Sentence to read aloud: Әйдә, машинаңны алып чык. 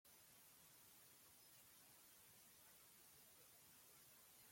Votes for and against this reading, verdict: 0, 2, rejected